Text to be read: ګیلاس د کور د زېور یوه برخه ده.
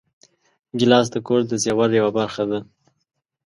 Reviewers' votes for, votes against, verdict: 2, 0, accepted